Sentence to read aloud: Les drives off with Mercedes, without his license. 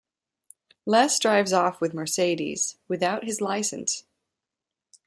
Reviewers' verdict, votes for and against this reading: accepted, 2, 0